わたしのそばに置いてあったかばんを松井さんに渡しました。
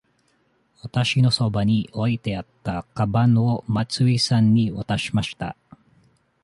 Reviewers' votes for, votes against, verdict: 2, 0, accepted